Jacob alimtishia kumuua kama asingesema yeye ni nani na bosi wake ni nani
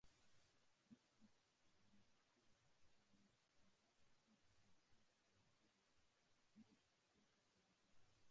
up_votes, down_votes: 0, 2